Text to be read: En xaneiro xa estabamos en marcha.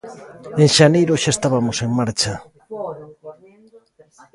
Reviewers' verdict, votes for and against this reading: rejected, 0, 2